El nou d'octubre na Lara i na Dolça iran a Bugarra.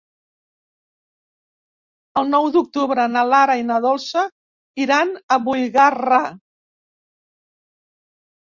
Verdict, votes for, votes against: rejected, 0, 2